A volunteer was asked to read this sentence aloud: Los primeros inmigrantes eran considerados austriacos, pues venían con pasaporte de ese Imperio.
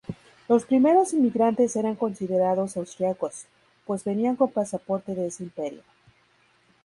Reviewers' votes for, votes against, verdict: 2, 0, accepted